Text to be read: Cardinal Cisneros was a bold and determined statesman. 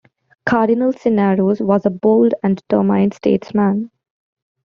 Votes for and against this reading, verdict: 0, 2, rejected